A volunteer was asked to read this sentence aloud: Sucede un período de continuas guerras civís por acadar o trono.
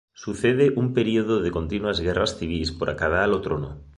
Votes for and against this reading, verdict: 3, 0, accepted